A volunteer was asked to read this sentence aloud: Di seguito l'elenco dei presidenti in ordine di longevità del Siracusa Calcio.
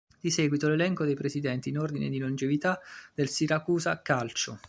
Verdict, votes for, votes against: accepted, 2, 0